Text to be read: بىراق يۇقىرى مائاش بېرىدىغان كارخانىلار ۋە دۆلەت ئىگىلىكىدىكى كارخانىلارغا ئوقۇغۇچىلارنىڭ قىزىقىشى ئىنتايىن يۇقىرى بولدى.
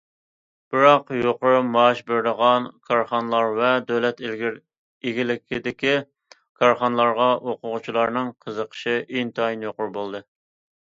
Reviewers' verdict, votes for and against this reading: rejected, 0, 2